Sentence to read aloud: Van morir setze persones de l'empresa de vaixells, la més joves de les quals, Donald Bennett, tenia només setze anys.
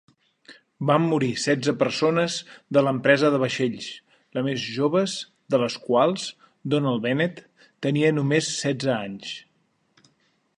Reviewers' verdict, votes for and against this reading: accepted, 3, 0